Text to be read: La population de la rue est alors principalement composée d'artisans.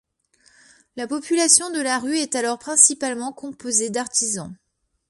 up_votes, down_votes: 2, 0